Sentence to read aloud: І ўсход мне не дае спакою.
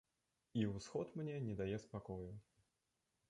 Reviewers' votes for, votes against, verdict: 0, 2, rejected